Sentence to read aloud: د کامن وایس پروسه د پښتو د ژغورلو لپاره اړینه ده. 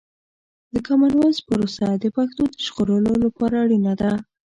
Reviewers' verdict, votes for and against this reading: accepted, 2, 0